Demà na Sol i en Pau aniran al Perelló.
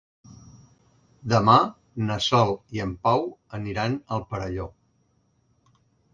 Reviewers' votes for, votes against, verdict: 3, 0, accepted